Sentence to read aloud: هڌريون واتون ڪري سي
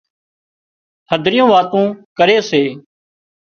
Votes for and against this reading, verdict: 2, 0, accepted